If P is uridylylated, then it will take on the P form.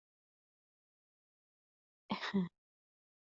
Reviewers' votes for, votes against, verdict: 0, 2, rejected